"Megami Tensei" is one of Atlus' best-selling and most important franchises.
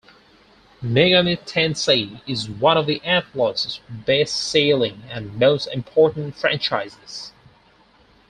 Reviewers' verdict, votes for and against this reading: rejected, 2, 4